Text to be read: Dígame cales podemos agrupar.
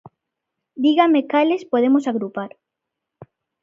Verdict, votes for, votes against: accepted, 2, 0